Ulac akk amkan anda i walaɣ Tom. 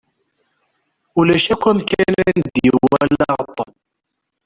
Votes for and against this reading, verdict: 1, 2, rejected